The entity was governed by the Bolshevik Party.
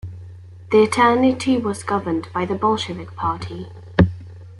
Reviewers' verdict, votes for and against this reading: rejected, 1, 2